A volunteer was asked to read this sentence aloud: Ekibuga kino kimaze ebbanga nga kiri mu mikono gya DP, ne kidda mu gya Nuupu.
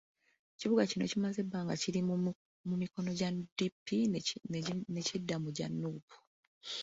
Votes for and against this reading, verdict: 2, 0, accepted